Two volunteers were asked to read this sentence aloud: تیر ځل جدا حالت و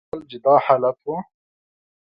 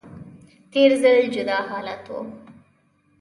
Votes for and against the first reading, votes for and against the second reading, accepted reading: 0, 2, 2, 0, second